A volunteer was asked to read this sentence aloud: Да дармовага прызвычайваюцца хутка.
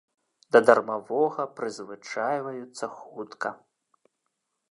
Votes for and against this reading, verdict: 0, 2, rejected